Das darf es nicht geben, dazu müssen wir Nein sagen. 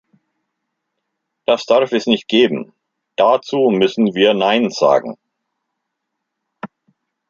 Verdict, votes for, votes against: accepted, 2, 0